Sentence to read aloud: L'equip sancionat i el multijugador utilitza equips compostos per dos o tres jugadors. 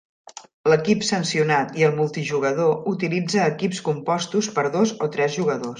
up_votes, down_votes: 3, 0